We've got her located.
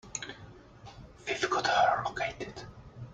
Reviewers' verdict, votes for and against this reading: rejected, 0, 2